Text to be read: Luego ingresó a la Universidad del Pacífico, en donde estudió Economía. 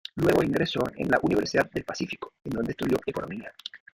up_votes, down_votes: 1, 2